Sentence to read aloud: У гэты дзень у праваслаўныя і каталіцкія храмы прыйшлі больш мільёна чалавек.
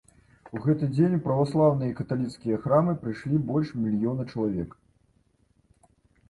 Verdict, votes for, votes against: accepted, 2, 0